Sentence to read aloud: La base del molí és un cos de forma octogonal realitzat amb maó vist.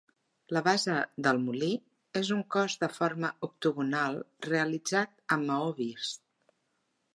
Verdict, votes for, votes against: accepted, 3, 0